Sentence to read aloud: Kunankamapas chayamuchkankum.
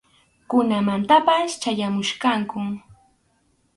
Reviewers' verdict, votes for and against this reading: rejected, 2, 2